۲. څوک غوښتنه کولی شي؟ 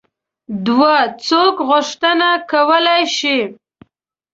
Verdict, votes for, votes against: rejected, 0, 2